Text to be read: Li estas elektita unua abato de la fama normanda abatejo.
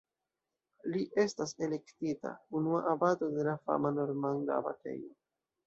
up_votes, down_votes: 2, 0